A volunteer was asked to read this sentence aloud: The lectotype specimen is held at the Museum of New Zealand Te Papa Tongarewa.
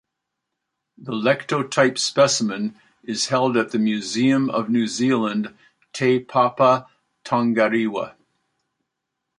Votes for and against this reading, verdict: 1, 2, rejected